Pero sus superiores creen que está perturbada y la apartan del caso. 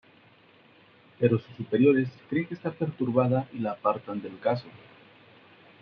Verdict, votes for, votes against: accepted, 2, 1